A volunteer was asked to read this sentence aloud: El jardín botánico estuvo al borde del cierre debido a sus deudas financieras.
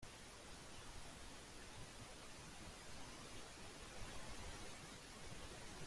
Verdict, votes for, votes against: rejected, 0, 2